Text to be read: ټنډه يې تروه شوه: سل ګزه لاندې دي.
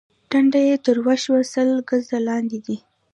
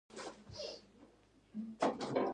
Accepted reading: first